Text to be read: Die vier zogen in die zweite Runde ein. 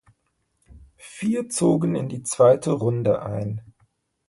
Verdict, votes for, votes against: rejected, 1, 2